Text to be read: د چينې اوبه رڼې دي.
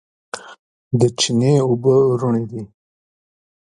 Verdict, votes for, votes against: rejected, 1, 2